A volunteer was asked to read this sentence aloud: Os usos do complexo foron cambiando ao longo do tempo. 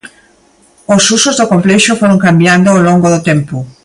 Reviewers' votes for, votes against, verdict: 2, 0, accepted